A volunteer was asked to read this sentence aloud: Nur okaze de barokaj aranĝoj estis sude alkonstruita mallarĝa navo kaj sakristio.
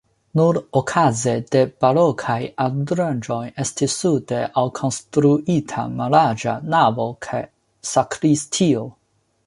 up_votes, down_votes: 2, 0